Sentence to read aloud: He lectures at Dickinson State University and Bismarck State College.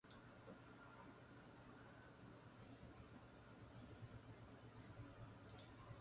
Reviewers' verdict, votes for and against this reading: rejected, 2, 4